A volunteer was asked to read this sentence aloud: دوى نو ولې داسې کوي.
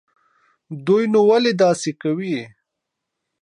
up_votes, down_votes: 0, 2